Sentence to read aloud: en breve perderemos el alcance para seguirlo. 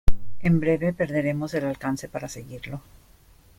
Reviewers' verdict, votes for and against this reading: accepted, 2, 1